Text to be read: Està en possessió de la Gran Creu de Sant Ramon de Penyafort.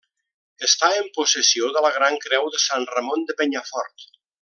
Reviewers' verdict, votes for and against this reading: accepted, 3, 0